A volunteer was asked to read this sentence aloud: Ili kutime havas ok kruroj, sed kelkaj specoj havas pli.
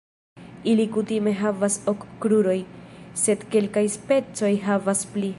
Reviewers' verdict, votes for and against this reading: accepted, 2, 0